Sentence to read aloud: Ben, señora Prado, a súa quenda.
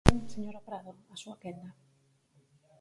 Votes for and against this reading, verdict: 2, 4, rejected